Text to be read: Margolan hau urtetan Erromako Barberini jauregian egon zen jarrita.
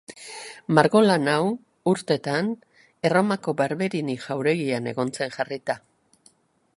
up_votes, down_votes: 2, 0